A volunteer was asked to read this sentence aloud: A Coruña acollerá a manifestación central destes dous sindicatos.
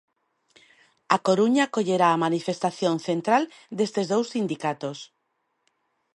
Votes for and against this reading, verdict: 2, 0, accepted